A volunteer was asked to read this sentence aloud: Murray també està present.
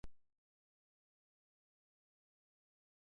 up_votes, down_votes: 0, 2